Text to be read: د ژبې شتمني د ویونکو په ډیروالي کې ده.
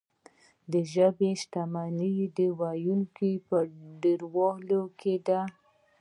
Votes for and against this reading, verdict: 2, 0, accepted